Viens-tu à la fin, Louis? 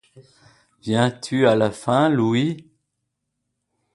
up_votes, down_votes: 2, 0